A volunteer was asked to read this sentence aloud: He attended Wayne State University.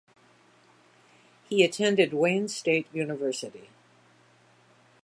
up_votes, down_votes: 2, 0